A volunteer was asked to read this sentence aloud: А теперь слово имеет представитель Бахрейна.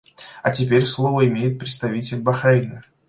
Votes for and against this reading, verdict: 2, 0, accepted